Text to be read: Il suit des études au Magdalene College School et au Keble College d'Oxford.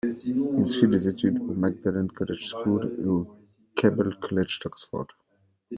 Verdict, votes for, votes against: rejected, 1, 2